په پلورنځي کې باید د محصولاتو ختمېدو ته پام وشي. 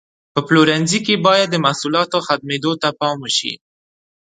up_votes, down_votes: 2, 0